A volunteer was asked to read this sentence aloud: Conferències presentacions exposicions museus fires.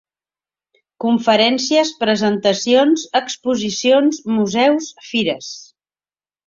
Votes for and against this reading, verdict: 3, 0, accepted